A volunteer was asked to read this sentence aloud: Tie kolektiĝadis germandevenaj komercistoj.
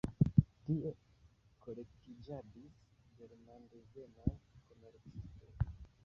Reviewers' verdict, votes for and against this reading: rejected, 0, 2